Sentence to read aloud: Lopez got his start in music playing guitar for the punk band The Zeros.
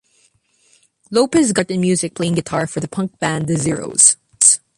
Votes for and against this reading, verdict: 1, 2, rejected